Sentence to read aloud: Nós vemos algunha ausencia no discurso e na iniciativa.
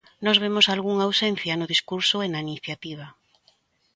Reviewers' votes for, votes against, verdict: 2, 0, accepted